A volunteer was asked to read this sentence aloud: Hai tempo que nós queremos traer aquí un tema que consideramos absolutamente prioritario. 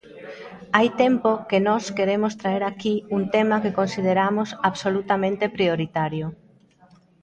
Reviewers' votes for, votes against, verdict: 1, 2, rejected